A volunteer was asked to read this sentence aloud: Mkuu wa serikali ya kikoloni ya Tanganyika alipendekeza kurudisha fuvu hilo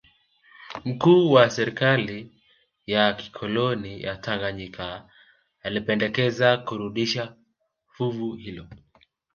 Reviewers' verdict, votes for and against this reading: accepted, 2, 0